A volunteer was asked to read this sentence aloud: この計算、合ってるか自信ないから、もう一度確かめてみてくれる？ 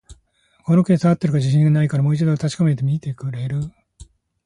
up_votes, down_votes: 2, 1